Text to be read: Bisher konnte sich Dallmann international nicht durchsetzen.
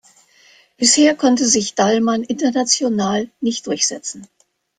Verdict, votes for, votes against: rejected, 0, 2